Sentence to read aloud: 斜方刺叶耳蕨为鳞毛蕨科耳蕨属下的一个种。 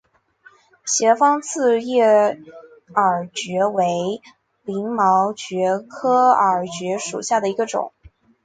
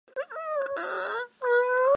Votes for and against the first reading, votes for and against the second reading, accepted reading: 4, 1, 0, 2, first